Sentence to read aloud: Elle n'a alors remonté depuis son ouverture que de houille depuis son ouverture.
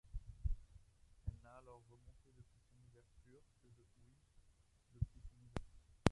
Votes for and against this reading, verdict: 0, 2, rejected